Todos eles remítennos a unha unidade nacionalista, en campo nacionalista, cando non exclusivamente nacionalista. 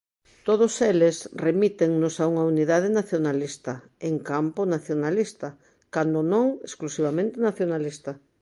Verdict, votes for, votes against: accepted, 2, 0